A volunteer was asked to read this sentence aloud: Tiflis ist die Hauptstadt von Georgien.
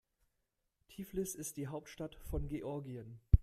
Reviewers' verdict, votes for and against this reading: accepted, 2, 0